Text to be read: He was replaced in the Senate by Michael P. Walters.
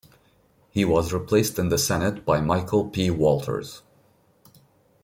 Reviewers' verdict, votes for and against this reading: accepted, 2, 0